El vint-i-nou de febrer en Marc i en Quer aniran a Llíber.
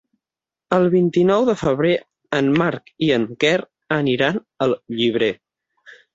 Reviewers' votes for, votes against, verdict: 6, 12, rejected